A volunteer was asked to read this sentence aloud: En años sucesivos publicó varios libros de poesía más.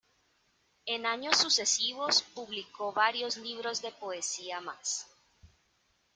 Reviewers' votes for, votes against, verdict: 0, 2, rejected